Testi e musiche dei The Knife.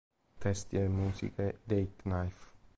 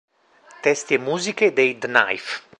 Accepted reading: second